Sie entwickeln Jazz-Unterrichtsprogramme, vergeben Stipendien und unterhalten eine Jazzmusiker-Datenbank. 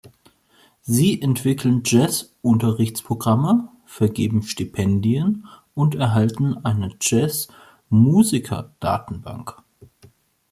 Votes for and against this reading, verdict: 1, 2, rejected